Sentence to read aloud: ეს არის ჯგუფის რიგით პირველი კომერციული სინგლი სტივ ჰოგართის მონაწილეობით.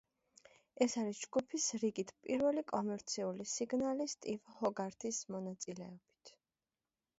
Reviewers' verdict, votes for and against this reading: rejected, 1, 2